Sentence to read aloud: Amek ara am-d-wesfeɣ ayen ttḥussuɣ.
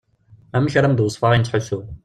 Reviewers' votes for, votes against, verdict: 2, 0, accepted